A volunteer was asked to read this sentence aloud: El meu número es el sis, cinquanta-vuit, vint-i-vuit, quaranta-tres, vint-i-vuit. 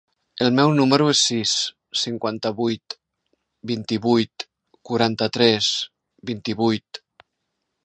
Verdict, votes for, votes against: accepted, 2, 0